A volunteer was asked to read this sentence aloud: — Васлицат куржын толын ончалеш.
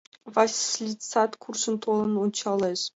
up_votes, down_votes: 0, 2